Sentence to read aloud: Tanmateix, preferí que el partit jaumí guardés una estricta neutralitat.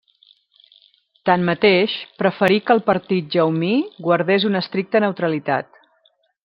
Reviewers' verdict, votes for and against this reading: accepted, 2, 0